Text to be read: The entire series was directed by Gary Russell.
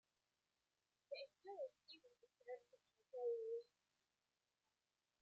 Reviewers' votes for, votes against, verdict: 0, 2, rejected